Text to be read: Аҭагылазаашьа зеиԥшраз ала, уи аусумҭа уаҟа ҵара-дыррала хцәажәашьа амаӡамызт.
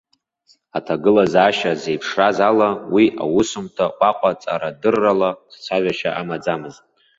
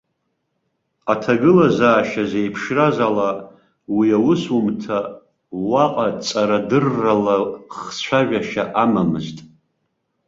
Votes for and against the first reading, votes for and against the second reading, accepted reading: 2, 0, 1, 2, first